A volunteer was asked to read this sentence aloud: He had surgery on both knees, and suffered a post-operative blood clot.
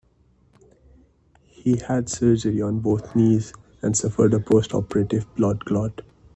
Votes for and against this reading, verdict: 2, 0, accepted